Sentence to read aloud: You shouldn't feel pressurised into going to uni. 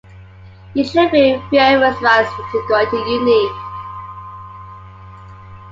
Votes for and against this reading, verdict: 1, 2, rejected